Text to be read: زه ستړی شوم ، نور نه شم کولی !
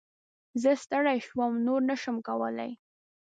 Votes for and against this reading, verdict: 2, 0, accepted